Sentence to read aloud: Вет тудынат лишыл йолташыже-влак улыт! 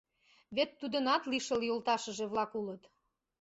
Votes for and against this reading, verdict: 2, 0, accepted